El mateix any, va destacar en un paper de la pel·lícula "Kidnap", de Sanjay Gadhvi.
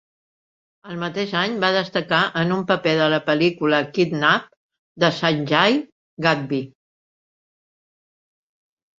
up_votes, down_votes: 2, 1